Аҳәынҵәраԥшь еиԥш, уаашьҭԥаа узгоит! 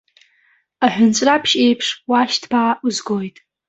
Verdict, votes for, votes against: accepted, 2, 0